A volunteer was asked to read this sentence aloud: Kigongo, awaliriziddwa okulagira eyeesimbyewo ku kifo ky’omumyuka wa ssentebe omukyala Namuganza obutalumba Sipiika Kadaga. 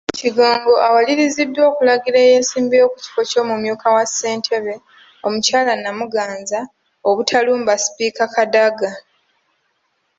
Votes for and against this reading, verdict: 2, 1, accepted